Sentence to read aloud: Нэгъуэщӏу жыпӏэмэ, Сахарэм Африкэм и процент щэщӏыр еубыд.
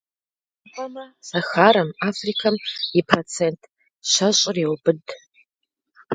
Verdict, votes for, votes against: rejected, 0, 2